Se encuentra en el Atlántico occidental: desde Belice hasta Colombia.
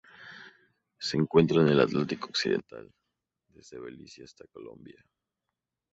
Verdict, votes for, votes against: accepted, 4, 0